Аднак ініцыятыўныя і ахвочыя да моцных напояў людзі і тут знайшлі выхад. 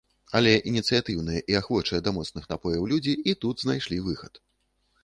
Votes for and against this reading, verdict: 0, 2, rejected